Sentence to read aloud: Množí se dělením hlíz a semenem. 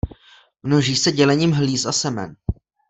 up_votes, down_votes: 0, 2